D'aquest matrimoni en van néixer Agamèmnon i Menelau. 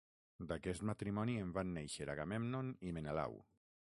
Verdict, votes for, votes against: rejected, 0, 6